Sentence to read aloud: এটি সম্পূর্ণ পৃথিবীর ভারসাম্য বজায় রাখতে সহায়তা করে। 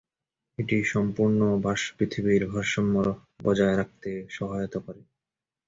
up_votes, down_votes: 0, 2